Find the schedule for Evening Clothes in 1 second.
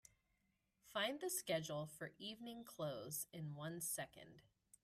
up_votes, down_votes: 0, 2